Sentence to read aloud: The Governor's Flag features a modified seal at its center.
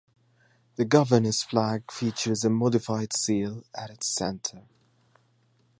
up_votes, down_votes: 2, 0